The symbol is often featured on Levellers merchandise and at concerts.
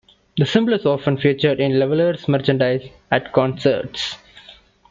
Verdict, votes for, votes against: rejected, 0, 2